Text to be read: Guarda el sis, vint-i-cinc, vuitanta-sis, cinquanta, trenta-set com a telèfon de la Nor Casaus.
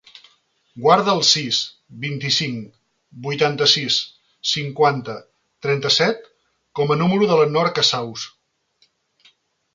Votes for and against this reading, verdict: 0, 2, rejected